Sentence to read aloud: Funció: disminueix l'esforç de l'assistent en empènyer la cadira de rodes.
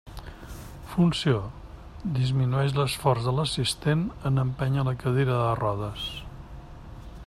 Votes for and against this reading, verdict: 2, 0, accepted